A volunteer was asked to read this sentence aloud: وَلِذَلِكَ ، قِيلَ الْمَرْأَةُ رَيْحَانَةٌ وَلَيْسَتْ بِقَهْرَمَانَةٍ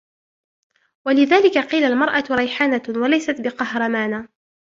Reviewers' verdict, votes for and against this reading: accepted, 2, 1